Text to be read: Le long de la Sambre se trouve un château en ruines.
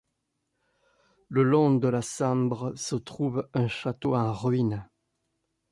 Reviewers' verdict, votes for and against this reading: accepted, 2, 0